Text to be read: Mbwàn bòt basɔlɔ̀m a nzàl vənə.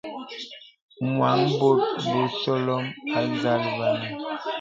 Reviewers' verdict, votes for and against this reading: rejected, 0, 2